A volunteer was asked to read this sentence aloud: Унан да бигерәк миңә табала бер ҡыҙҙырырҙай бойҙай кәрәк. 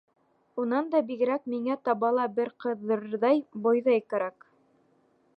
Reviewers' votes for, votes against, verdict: 1, 2, rejected